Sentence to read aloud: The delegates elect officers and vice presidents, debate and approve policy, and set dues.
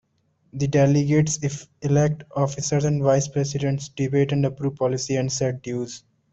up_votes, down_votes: 2, 0